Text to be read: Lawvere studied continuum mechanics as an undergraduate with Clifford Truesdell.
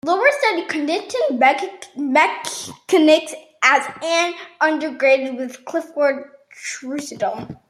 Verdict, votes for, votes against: rejected, 0, 2